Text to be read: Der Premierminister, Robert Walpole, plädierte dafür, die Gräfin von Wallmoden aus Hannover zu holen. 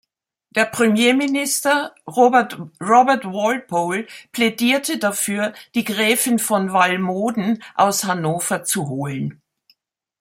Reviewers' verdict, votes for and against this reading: rejected, 1, 2